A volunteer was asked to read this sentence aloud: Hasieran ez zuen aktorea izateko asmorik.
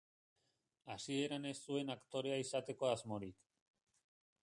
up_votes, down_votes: 1, 2